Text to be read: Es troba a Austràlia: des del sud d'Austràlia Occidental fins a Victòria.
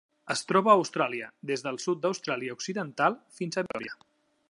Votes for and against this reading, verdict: 0, 2, rejected